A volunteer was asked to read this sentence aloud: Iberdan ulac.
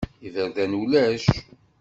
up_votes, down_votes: 2, 0